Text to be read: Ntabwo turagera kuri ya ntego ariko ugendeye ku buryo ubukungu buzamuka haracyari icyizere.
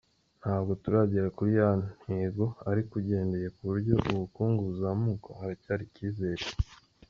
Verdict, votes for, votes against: accepted, 2, 0